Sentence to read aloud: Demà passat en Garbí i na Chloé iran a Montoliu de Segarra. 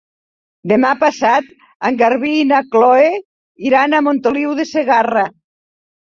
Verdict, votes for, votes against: accepted, 2, 1